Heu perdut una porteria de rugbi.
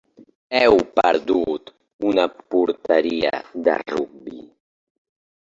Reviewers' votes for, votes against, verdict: 3, 1, accepted